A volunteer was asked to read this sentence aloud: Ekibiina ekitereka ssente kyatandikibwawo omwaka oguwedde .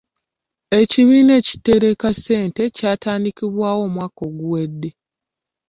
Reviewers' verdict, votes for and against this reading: accepted, 2, 1